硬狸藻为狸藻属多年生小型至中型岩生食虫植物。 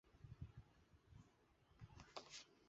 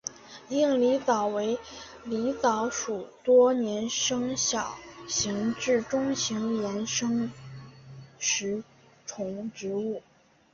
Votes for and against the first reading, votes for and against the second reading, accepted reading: 2, 3, 2, 0, second